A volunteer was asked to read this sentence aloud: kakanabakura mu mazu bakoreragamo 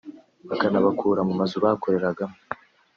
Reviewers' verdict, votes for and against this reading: accepted, 2, 0